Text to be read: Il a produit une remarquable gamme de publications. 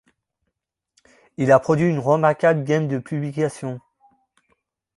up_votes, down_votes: 0, 2